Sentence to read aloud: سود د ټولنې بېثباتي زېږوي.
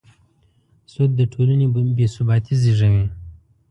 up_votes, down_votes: 2, 0